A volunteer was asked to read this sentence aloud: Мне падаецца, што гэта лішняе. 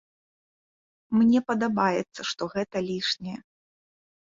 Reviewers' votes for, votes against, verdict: 0, 2, rejected